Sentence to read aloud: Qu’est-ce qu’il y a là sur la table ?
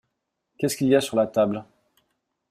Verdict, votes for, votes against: rejected, 0, 2